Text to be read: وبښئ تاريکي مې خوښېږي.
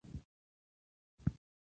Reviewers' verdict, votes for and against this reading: rejected, 1, 2